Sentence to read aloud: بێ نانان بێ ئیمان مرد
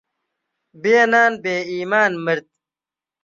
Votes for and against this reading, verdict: 0, 2, rejected